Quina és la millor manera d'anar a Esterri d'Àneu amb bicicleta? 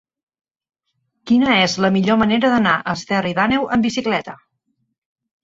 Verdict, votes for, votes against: rejected, 1, 2